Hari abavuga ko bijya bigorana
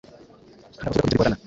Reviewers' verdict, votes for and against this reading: rejected, 0, 2